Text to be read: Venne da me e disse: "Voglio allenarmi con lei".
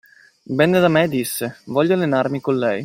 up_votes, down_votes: 2, 1